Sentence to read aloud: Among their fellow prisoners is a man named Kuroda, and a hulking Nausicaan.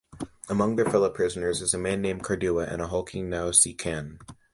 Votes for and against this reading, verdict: 2, 3, rejected